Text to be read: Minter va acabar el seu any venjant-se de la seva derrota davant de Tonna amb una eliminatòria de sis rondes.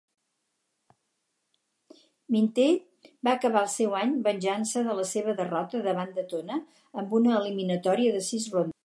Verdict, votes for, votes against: rejected, 2, 4